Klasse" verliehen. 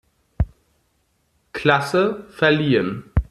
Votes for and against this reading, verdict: 2, 0, accepted